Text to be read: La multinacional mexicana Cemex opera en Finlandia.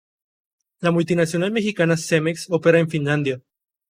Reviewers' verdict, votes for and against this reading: accepted, 2, 0